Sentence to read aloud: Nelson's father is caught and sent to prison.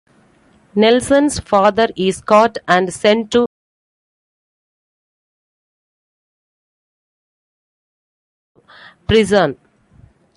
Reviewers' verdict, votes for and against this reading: rejected, 1, 2